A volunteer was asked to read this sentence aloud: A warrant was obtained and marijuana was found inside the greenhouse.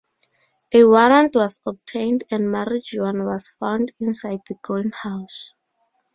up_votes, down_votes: 0, 2